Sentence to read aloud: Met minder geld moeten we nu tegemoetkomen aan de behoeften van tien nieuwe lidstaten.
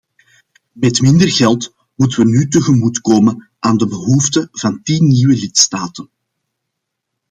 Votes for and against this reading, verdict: 2, 0, accepted